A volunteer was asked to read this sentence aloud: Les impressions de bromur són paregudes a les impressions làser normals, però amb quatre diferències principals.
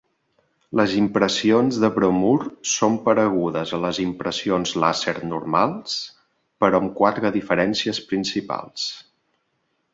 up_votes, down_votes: 2, 0